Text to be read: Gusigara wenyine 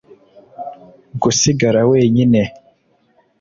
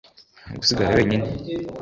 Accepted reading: first